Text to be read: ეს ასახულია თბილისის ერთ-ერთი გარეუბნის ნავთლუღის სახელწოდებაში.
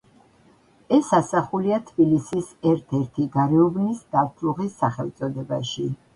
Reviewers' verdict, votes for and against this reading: accepted, 2, 0